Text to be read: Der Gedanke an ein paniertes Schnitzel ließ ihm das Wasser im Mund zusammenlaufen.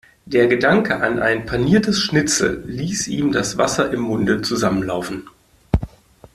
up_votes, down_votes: 0, 2